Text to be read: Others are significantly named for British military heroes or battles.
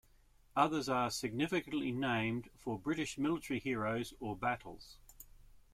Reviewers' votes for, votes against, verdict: 2, 0, accepted